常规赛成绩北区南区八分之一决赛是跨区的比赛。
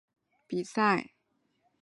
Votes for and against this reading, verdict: 0, 4, rejected